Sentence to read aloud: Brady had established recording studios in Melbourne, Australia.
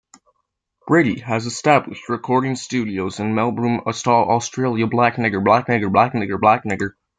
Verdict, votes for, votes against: rejected, 0, 2